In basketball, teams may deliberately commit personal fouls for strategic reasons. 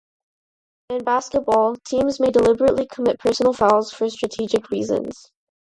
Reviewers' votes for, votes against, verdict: 0, 2, rejected